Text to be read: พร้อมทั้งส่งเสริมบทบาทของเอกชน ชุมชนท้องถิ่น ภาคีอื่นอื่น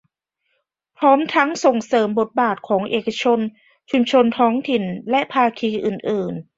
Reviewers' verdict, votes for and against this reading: rejected, 1, 2